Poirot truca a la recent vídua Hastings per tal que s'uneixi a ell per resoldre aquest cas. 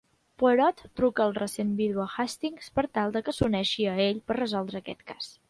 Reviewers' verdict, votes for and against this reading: rejected, 0, 2